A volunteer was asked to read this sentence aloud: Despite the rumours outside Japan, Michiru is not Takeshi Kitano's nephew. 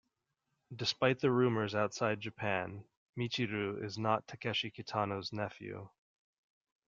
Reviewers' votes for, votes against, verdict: 2, 0, accepted